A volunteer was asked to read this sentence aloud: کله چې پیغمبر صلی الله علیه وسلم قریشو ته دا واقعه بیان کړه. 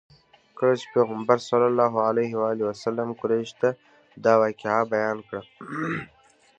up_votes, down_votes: 2, 0